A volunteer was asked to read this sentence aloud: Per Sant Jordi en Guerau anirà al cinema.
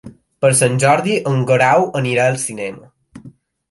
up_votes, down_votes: 2, 0